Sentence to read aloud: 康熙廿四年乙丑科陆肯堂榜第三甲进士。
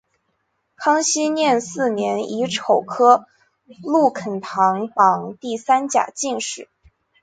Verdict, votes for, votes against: accepted, 3, 2